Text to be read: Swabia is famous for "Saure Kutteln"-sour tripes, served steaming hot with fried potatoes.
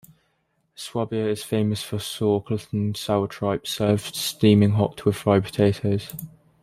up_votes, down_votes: 1, 2